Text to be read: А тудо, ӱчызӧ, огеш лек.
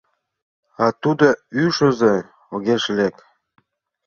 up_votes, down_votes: 0, 2